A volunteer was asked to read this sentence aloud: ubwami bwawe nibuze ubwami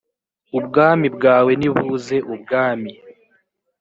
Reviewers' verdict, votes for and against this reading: accepted, 2, 1